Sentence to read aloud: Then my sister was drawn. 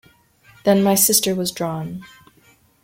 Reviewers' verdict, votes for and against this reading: accepted, 2, 0